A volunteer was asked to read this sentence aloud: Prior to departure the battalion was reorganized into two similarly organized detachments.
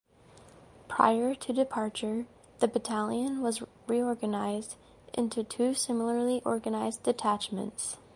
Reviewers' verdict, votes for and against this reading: accepted, 2, 0